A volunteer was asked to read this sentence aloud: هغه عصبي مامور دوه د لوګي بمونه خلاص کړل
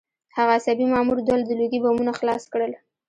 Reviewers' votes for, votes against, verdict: 1, 2, rejected